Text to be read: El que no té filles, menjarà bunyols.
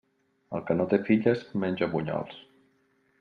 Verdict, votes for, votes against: rejected, 0, 2